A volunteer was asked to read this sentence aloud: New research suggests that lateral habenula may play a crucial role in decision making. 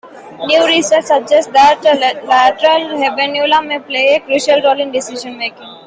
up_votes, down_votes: 2, 1